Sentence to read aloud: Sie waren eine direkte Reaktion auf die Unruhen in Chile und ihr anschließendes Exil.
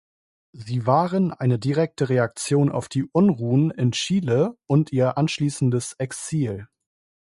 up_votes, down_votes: 2, 0